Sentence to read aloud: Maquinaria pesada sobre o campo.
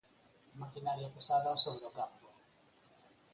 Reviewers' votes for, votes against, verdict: 4, 2, accepted